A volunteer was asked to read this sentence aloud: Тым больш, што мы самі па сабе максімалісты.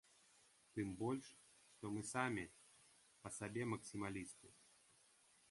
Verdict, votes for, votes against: accepted, 2, 0